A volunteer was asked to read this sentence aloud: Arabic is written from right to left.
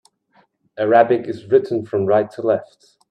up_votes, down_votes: 2, 0